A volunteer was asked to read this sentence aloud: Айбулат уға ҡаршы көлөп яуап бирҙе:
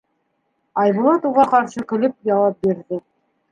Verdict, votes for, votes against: accepted, 2, 0